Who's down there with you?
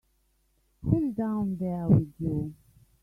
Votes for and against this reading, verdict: 2, 1, accepted